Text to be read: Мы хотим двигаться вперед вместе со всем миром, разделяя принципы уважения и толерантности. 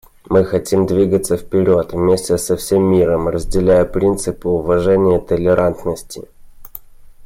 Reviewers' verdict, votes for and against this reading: accepted, 2, 0